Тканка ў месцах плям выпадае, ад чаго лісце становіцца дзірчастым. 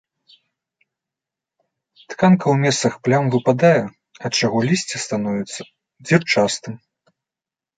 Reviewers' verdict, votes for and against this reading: accepted, 2, 0